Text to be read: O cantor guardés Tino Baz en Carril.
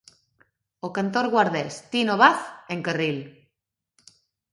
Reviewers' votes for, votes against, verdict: 3, 0, accepted